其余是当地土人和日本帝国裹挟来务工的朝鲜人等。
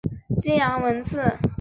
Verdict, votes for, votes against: rejected, 0, 5